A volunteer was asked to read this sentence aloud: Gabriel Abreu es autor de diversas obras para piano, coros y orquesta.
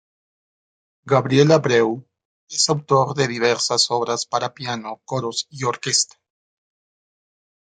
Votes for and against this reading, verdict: 0, 2, rejected